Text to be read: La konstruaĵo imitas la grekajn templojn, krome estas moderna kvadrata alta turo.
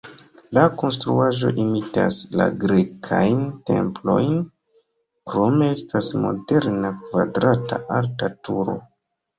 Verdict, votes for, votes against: rejected, 0, 2